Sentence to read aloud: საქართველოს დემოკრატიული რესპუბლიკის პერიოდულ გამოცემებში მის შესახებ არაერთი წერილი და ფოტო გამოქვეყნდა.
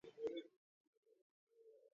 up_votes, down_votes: 0, 2